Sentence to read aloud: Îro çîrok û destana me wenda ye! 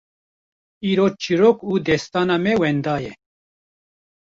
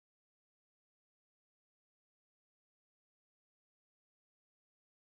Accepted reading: first